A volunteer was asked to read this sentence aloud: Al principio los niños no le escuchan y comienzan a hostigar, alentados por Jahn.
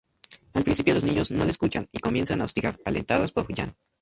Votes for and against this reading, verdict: 0, 4, rejected